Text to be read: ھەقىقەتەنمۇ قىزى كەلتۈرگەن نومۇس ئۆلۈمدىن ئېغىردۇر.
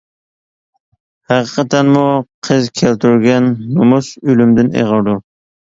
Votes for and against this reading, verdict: 1, 2, rejected